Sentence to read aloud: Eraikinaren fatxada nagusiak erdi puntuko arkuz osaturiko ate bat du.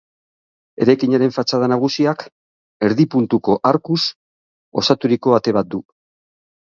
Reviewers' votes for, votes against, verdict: 6, 0, accepted